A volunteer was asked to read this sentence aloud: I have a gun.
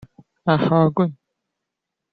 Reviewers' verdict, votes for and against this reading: accepted, 2, 1